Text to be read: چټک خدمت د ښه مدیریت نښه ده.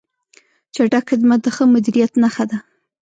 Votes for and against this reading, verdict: 1, 2, rejected